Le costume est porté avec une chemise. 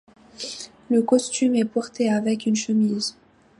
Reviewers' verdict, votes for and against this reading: accepted, 2, 0